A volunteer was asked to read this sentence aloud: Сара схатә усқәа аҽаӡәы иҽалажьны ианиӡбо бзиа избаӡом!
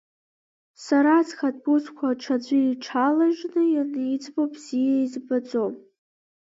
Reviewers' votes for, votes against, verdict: 1, 2, rejected